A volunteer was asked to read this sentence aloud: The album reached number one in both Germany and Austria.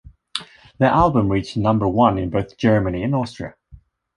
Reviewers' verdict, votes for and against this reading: accepted, 2, 0